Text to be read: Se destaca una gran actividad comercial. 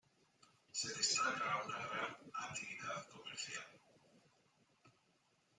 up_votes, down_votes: 0, 2